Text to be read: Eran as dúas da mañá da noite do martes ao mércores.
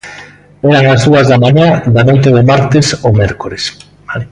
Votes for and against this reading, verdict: 1, 2, rejected